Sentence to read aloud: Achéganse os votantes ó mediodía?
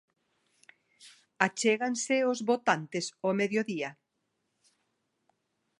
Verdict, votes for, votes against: accepted, 2, 0